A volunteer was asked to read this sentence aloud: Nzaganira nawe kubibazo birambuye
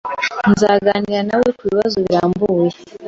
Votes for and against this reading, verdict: 2, 0, accepted